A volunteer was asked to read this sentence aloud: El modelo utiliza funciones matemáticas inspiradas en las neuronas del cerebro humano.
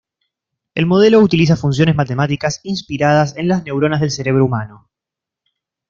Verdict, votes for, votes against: accepted, 2, 0